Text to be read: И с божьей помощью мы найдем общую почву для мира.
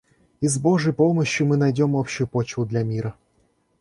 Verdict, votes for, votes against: accepted, 2, 1